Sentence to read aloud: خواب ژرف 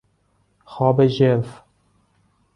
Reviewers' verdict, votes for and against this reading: rejected, 0, 2